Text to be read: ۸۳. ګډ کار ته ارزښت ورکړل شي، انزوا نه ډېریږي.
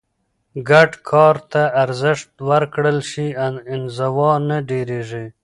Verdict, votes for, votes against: rejected, 0, 2